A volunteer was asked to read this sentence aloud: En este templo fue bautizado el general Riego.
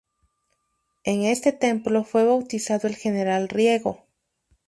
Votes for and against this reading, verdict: 2, 0, accepted